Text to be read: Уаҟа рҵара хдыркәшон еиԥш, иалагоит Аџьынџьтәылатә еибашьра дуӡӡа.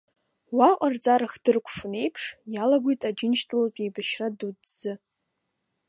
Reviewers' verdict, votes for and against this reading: accepted, 2, 0